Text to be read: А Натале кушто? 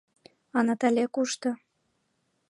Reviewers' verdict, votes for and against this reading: accepted, 2, 0